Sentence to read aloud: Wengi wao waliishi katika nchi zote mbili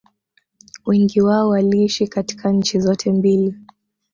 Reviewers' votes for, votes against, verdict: 0, 2, rejected